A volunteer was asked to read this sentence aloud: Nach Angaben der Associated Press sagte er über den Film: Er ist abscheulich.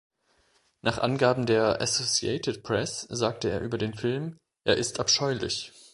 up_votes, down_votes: 2, 0